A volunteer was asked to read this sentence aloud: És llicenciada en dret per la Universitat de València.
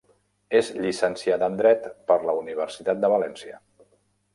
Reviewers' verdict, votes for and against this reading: accepted, 2, 0